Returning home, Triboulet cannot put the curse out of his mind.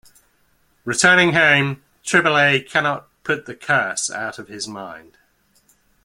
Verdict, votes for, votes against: accepted, 2, 0